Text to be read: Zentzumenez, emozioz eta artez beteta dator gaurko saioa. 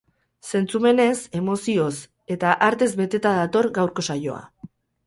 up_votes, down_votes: 4, 0